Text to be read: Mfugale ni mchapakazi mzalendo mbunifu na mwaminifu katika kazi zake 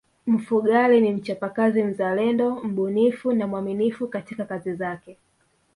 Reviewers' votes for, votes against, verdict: 1, 2, rejected